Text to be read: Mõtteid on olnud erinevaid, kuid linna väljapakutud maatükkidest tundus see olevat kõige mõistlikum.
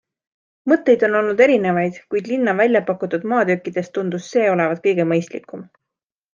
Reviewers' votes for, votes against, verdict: 2, 0, accepted